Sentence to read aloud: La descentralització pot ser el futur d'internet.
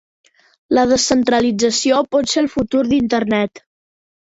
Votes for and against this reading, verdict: 3, 0, accepted